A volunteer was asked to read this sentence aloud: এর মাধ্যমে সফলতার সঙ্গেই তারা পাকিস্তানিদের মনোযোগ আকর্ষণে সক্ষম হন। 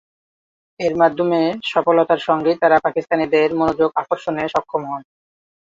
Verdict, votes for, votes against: accepted, 2, 0